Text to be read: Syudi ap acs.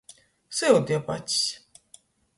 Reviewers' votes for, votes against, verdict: 2, 0, accepted